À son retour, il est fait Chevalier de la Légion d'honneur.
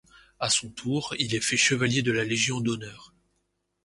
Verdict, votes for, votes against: rejected, 0, 2